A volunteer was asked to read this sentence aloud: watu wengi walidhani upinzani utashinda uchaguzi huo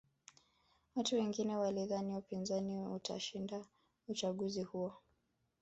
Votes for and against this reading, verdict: 2, 3, rejected